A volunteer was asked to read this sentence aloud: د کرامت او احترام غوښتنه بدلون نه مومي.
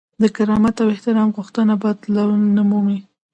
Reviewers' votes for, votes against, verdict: 2, 0, accepted